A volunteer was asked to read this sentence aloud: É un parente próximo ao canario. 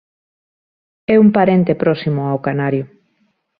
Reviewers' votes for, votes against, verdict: 2, 0, accepted